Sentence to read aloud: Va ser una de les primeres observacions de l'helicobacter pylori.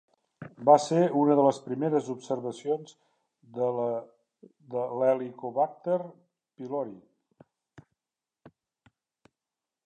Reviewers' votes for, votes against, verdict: 0, 2, rejected